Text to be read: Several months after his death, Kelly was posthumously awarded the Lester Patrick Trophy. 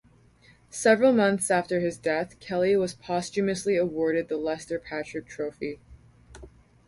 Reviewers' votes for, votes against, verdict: 2, 2, rejected